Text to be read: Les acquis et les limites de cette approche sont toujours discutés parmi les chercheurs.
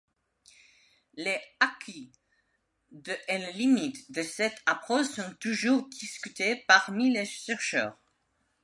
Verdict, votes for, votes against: rejected, 1, 2